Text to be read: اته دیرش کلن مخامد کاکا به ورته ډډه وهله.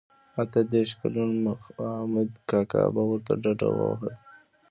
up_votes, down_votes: 2, 1